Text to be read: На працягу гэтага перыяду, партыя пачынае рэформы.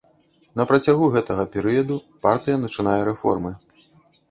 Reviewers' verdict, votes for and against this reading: rejected, 0, 2